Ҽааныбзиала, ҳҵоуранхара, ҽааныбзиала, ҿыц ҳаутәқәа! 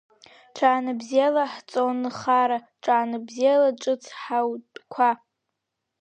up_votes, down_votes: 1, 2